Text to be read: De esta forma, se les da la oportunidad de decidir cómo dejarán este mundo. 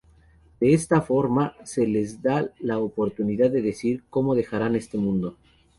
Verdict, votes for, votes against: rejected, 0, 2